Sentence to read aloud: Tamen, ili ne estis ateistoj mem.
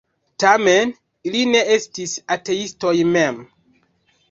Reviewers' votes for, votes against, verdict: 0, 2, rejected